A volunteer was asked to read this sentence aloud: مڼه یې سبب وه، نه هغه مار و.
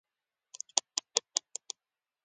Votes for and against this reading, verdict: 0, 2, rejected